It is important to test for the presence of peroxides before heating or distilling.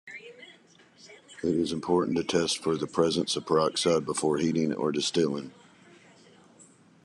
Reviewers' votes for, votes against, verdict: 2, 0, accepted